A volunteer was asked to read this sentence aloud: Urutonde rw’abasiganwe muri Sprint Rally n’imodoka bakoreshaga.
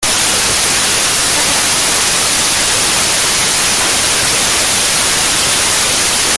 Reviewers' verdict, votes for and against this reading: rejected, 0, 2